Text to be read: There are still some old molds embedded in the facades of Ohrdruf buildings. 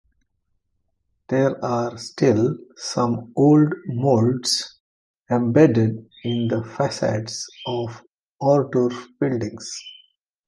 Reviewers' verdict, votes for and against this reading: accepted, 2, 1